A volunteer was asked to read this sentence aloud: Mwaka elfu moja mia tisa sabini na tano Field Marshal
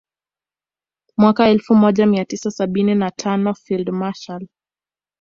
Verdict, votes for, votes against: accepted, 2, 0